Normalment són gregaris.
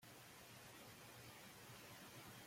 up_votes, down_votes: 1, 3